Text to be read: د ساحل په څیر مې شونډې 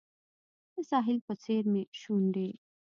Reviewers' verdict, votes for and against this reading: rejected, 1, 2